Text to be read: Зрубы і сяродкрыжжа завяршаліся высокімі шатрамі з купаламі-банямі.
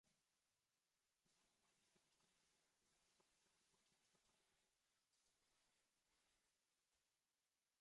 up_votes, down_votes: 0, 2